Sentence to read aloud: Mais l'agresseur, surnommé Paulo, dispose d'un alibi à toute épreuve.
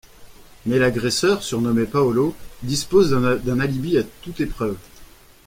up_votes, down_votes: 1, 2